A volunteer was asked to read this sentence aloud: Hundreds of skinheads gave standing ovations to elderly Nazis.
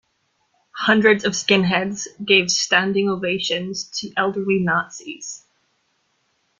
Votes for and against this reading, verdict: 2, 0, accepted